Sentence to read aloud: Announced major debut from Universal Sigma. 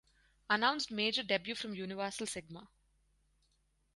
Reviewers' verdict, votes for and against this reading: accepted, 4, 0